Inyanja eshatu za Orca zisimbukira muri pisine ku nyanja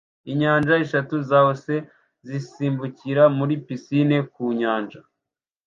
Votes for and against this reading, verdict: 1, 2, rejected